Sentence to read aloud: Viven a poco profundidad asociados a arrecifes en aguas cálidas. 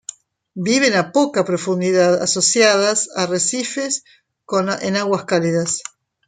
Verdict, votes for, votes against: accepted, 2, 1